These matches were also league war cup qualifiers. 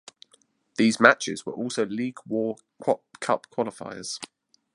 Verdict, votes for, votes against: rejected, 1, 2